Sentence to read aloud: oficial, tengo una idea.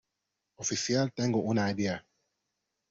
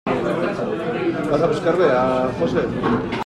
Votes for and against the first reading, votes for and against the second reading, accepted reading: 2, 0, 0, 2, first